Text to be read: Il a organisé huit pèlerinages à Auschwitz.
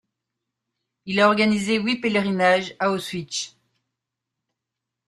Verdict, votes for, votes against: rejected, 0, 2